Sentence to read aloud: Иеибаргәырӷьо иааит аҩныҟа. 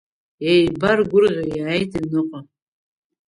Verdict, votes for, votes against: accepted, 2, 1